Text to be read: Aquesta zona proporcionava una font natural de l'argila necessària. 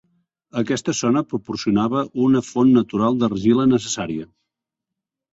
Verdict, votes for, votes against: rejected, 1, 2